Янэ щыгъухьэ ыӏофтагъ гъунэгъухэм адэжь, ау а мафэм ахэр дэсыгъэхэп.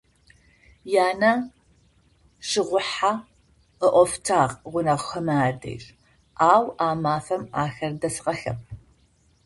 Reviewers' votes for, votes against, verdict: 0, 2, rejected